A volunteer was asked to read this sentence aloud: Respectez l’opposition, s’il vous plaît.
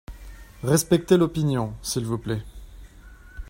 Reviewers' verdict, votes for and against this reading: rejected, 0, 2